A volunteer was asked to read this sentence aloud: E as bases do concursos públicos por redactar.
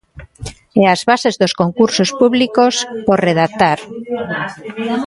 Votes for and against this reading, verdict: 0, 2, rejected